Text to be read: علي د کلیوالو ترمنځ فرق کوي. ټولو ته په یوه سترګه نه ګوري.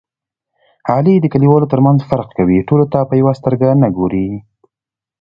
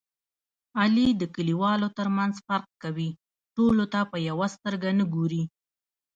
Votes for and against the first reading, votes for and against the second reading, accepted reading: 2, 0, 1, 2, first